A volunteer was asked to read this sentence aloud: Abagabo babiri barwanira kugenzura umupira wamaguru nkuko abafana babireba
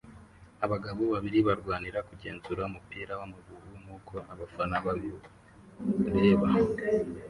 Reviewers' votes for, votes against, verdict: 1, 2, rejected